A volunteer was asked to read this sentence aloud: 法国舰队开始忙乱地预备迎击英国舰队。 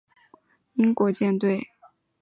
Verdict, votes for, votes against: rejected, 2, 3